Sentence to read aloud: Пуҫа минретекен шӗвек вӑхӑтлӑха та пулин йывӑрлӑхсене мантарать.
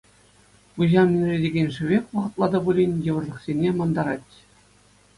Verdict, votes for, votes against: accepted, 2, 0